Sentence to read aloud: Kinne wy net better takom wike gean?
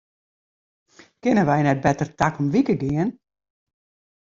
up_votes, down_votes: 2, 0